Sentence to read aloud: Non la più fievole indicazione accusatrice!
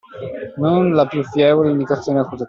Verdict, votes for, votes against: rejected, 0, 2